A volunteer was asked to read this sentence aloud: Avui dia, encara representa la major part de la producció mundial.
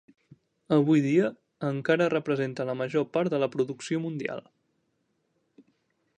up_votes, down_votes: 3, 0